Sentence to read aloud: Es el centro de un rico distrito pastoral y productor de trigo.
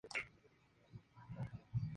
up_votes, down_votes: 2, 0